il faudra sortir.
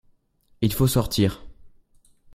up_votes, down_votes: 0, 2